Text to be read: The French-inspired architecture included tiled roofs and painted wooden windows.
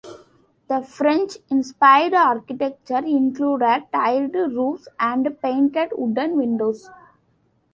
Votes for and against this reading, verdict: 2, 1, accepted